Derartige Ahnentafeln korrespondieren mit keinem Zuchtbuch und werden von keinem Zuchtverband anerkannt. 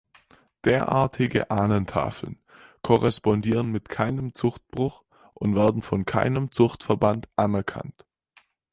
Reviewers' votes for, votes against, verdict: 4, 2, accepted